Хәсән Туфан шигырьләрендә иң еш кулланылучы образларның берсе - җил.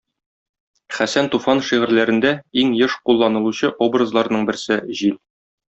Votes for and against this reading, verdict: 2, 0, accepted